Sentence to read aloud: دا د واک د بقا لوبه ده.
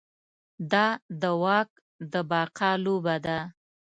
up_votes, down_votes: 2, 0